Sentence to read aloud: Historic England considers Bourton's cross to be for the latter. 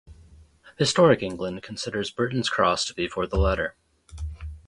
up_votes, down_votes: 0, 2